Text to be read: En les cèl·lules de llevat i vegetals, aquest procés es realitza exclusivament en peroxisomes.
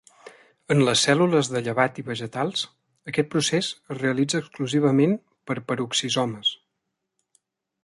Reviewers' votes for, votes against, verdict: 0, 2, rejected